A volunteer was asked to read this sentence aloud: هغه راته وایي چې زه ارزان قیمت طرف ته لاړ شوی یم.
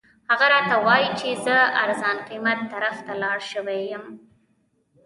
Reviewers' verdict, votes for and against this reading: rejected, 0, 2